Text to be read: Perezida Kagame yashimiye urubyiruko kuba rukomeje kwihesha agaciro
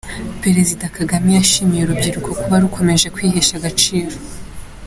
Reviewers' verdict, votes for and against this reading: accepted, 2, 0